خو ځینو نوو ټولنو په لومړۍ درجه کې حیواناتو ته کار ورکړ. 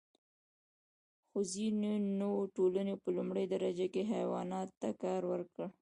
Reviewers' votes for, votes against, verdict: 1, 2, rejected